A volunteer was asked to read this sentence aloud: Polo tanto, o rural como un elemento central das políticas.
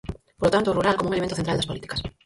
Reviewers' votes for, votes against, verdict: 0, 4, rejected